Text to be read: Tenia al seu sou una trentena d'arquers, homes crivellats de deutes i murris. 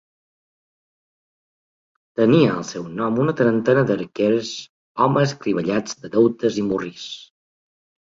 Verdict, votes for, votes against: rejected, 2, 3